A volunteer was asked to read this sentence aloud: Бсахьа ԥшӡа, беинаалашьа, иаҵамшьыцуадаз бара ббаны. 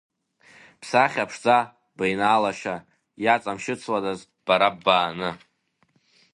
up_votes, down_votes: 1, 2